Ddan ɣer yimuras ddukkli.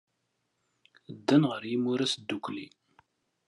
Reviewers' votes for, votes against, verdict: 2, 0, accepted